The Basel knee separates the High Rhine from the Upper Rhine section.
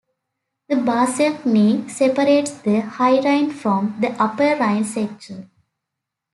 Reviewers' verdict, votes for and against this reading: accepted, 2, 0